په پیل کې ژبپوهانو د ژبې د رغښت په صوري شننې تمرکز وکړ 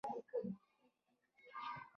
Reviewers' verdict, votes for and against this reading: rejected, 1, 2